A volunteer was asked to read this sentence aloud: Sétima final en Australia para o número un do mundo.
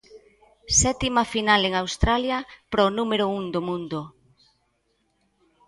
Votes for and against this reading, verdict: 2, 0, accepted